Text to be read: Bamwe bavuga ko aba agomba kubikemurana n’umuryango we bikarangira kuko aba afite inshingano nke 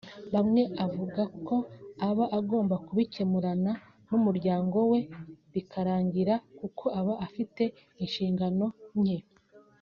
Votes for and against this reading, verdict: 2, 0, accepted